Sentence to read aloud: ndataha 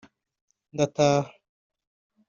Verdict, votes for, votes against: accepted, 3, 0